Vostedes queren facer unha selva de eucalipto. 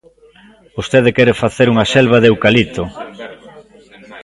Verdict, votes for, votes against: rejected, 0, 2